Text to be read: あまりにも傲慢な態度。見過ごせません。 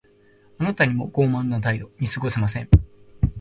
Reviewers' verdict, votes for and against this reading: rejected, 1, 2